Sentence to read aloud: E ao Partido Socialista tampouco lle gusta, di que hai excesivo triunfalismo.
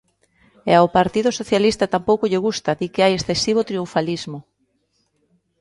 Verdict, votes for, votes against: accepted, 2, 0